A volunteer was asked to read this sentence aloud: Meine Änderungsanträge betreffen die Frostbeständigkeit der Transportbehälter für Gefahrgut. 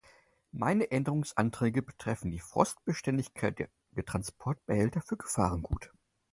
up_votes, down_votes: 2, 4